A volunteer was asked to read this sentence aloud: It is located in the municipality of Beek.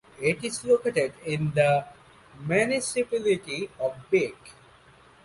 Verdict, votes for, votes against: rejected, 0, 2